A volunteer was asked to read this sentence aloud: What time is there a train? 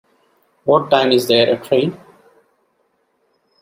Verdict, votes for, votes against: accepted, 2, 0